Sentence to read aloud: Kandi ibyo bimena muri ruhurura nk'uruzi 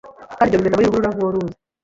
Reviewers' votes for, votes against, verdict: 1, 2, rejected